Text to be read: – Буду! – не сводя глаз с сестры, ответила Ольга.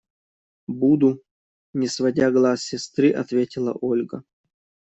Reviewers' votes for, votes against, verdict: 2, 0, accepted